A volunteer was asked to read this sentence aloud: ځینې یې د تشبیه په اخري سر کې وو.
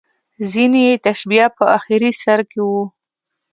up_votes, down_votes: 2, 0